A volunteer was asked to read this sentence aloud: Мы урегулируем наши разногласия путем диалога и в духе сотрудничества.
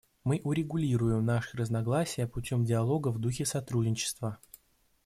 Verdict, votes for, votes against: rejected, 1, 2